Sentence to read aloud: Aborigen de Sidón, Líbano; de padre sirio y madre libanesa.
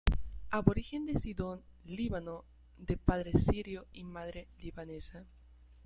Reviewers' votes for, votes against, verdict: 1, 2, rejected